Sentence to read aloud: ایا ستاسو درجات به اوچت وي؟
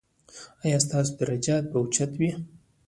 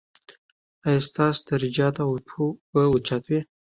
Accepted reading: second